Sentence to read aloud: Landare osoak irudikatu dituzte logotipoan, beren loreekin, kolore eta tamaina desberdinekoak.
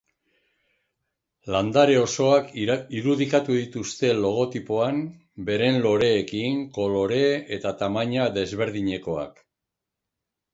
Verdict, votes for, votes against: rejected, 1, 2